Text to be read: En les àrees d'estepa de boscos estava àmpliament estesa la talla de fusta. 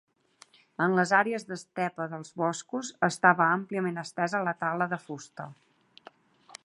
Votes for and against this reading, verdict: 0, 2, rejected